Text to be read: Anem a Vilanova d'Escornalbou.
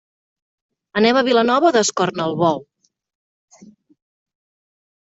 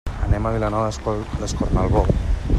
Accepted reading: first